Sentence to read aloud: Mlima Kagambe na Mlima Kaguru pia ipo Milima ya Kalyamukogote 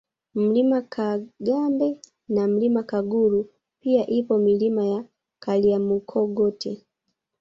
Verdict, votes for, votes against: rejected, 0, 2